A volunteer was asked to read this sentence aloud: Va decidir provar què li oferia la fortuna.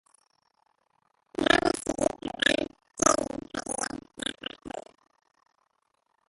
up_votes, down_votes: 0, 2